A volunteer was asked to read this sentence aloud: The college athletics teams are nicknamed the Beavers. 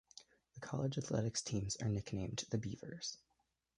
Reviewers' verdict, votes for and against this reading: rejected, 1, 2